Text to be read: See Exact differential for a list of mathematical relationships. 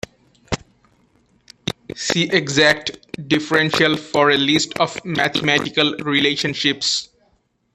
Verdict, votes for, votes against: rejected, 0, 2